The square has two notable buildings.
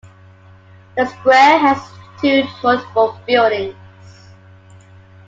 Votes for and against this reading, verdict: 2, 0, accepted